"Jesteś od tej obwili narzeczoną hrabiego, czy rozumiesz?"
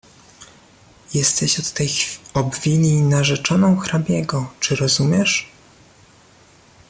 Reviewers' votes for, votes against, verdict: 0, 2, rejected